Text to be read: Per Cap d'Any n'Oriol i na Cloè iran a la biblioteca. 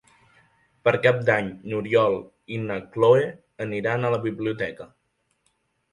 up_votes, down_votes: 1, 2